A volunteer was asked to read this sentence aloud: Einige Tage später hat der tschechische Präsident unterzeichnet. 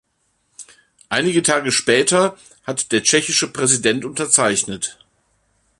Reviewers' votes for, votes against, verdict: 2, 0, accepted